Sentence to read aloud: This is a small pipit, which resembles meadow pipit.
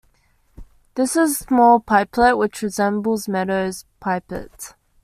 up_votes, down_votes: 0, 2